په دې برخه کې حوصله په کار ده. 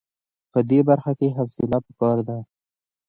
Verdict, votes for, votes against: accepted, 2, 0